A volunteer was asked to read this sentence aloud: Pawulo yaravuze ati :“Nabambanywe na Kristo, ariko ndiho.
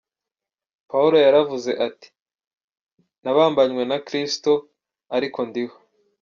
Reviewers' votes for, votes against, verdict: 2, 1, accepted